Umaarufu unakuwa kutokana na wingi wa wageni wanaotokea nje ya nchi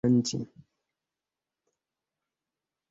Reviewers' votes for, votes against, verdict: 2, 3, rejected